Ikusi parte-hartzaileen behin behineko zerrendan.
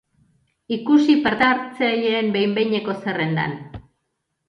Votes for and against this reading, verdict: 1, 2, rejected